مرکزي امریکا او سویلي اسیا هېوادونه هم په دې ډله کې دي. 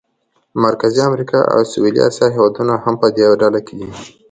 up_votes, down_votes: 2, 0